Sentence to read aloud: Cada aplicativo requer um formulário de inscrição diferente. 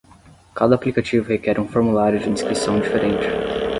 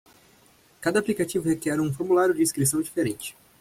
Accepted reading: second